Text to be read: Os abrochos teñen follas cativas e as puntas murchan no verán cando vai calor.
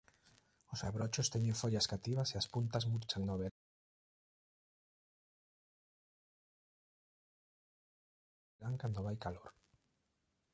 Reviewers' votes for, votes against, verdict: 0, 2, rejected